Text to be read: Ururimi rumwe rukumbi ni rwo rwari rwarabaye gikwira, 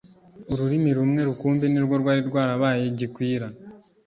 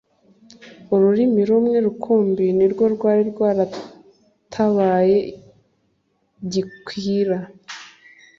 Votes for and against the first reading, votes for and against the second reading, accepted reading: 2, 0, 1, 2, first